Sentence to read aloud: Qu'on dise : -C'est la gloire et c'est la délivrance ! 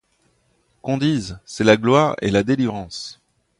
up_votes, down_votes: 1, 2